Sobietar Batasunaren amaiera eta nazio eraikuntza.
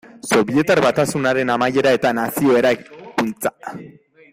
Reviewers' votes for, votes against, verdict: 0, 2, rejected